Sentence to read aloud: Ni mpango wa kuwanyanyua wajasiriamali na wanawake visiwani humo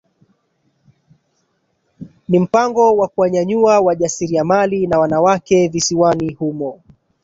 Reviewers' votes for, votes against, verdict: 1, 2, rejected